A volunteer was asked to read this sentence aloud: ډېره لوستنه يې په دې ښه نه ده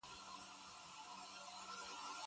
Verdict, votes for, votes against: rejected, 3, 6